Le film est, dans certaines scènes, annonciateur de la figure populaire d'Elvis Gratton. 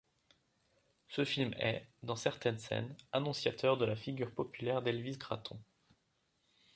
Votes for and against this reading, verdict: 0, 2, rejected